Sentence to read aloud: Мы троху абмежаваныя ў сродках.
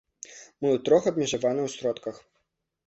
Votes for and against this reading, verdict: 0, 2, rejected